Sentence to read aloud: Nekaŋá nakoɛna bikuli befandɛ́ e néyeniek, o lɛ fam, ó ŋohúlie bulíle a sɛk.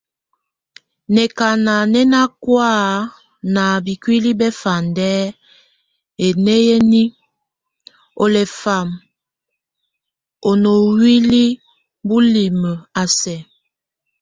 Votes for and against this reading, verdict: 0, 2, rejected